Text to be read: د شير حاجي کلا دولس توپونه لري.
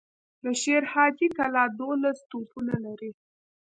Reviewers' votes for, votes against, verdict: 1, 2, rejected